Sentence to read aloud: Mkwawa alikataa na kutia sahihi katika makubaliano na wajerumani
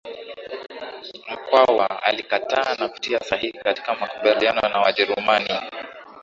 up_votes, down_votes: 0, 2